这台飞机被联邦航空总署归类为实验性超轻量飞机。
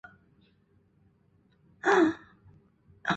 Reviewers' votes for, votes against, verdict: 1, 2, rejected